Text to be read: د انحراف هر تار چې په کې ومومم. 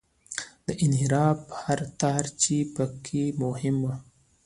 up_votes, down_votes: 2, 0